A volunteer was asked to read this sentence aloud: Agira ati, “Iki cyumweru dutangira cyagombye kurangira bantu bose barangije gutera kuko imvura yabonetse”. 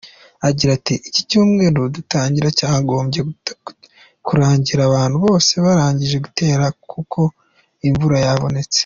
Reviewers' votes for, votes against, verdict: 2, 1, accepted